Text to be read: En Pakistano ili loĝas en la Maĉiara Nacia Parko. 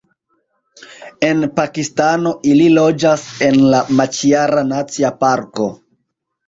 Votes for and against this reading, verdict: 2, 0, accepted